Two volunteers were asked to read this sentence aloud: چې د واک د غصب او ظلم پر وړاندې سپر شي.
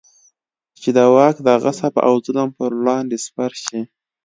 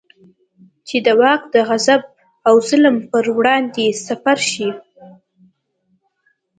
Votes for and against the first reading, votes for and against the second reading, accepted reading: 2, 0, 1, 2, first